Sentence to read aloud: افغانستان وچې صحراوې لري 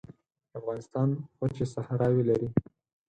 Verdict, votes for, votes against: accepted, 4, 0